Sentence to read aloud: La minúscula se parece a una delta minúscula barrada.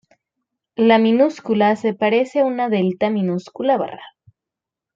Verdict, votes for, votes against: rejected, 2, 3